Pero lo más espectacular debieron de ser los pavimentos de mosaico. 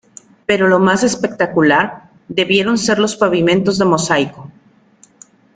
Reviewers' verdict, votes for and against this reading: rejected, 0, 2